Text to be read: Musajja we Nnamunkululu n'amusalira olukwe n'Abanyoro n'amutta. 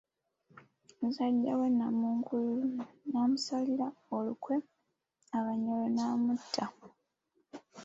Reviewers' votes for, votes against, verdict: 0, 2, rejected